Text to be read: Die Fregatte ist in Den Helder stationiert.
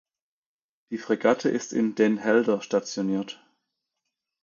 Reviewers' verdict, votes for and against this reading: accepted, 2, 0